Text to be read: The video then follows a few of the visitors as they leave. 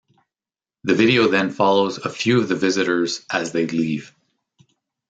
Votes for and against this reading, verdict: 2, 0, accepted